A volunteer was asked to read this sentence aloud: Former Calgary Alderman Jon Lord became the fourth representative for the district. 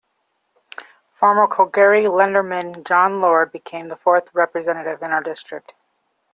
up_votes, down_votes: 0, 2